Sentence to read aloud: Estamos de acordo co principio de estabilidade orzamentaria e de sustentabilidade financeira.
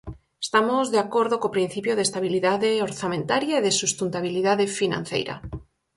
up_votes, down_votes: 4, 0